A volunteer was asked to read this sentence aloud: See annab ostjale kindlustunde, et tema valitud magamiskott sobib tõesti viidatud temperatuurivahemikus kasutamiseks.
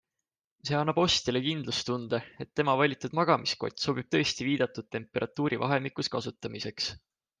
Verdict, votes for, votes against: accepted, 2, 0